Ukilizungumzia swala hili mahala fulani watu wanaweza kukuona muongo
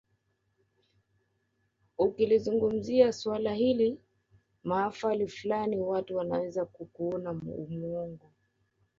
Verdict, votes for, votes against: rejected, 2, 3